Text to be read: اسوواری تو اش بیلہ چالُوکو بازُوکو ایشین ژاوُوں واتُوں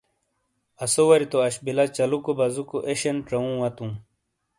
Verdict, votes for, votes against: accepted, 2, 0